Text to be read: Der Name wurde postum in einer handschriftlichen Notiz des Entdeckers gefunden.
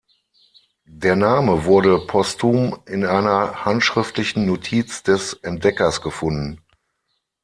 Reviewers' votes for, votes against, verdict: 6, 0, accepted